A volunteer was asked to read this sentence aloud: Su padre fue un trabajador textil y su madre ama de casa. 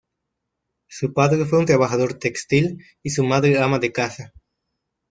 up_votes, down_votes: 2, 0